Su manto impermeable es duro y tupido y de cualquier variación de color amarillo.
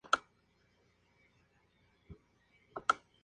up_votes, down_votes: 0, 2